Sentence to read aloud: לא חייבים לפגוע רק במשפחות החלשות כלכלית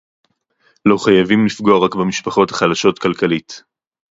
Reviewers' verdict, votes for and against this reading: accepted, 2, 0